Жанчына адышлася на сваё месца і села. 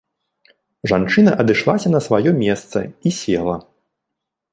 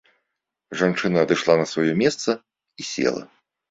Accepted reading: first